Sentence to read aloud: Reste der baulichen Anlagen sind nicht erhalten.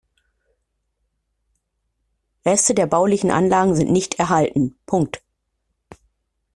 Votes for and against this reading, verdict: 0, 2, rejected